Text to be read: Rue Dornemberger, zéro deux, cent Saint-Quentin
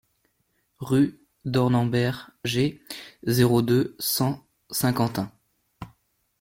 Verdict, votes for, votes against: rejected, 0, 2